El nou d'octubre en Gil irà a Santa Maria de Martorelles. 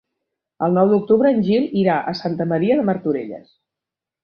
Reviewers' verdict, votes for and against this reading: accepted, 3, 0